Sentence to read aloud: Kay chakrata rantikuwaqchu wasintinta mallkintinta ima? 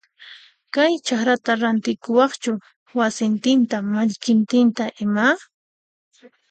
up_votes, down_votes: 2, 0